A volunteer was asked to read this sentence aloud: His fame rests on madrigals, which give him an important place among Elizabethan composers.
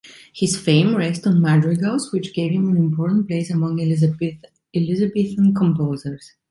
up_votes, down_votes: 0, 2